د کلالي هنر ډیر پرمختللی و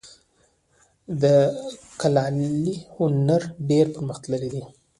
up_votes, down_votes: 0, 2